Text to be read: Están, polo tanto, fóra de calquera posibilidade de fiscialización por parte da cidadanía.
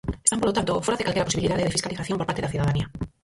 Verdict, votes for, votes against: rejected, 0, 4